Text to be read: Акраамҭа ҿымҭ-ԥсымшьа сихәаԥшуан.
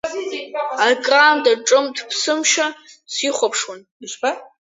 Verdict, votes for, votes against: rejected, 1, 2